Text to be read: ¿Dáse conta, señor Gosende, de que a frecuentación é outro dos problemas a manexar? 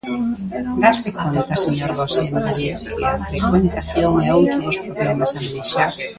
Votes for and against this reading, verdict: 0, 2, rejected